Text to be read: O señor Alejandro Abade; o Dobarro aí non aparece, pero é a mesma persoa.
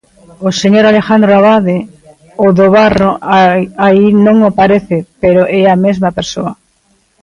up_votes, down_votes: 0, 2